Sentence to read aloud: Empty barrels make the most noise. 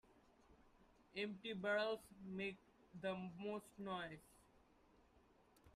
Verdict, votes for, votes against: rejected, 1, 2